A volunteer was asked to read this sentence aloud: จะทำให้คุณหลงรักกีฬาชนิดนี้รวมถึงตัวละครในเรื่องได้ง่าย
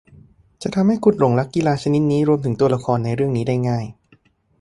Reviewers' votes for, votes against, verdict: 1, 2, rejected